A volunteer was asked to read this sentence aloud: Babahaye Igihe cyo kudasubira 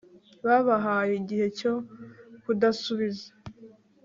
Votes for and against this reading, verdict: 1, 2, rejected